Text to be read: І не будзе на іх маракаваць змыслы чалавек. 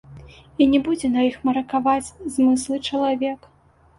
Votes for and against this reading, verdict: 2, 0, accepted